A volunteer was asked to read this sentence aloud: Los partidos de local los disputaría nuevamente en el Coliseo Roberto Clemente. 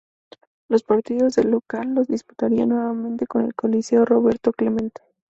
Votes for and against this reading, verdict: 0, 4, rejected